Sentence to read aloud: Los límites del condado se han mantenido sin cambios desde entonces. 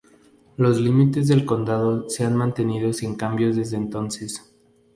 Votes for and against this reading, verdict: 2, 0, accepted